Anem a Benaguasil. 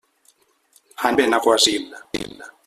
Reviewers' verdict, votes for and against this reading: rejected, 0, 2